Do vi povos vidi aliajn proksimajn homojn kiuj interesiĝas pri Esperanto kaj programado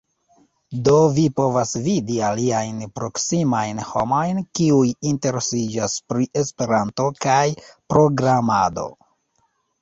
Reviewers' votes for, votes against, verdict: 0, 2, rejected